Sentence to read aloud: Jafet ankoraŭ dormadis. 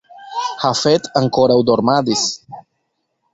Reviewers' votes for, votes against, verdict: 1, 2, rejected